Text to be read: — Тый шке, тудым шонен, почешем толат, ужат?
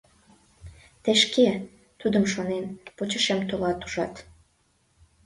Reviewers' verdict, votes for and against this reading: accepted, 2, 0